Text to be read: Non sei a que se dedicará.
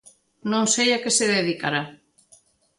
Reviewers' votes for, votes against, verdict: 2, 0, accepted